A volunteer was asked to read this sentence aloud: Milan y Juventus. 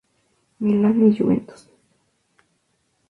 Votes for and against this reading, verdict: 0, 2, rejected